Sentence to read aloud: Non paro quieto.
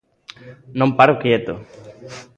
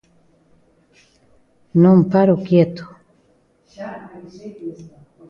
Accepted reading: first